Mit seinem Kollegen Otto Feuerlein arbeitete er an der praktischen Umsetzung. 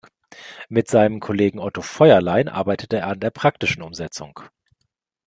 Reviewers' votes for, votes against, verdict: 2, 0, accepted